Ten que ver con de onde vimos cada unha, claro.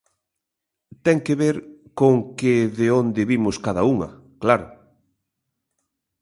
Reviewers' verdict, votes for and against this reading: rejected, 0, 2